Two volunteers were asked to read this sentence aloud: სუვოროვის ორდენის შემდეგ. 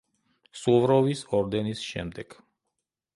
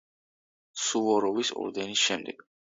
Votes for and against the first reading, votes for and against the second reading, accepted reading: 1, 2, 2, 1, second